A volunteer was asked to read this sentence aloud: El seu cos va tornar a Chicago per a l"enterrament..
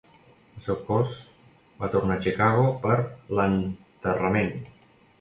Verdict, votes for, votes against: rejected, 1, 2